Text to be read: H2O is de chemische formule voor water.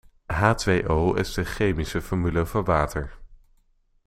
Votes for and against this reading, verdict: 0, 2, rejected